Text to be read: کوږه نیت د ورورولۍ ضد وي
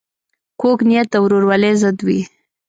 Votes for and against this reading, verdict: 2, 0, accepted